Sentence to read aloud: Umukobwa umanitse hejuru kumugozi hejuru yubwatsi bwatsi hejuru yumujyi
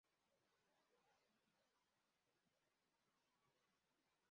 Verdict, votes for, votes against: rejected, 0, 2